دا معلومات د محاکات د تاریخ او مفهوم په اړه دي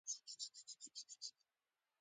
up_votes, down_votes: 0, 2